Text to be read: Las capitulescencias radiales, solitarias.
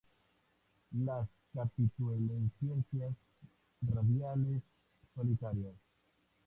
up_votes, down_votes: 2, 2